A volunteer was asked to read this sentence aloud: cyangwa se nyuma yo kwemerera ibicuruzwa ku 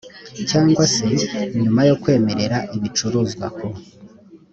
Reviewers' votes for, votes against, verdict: 2, 0, accepted